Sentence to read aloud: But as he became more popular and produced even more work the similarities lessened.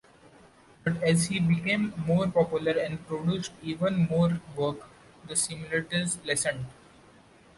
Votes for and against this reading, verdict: 2, 0, accepted